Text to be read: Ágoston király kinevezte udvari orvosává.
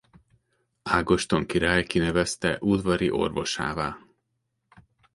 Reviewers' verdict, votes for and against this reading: accepted, 2, 0